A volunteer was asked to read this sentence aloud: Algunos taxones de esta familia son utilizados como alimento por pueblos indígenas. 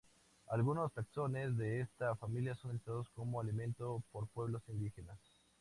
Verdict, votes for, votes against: accepted, 2, 0